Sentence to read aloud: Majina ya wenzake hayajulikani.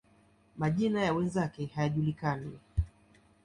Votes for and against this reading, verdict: 2, 0, accepted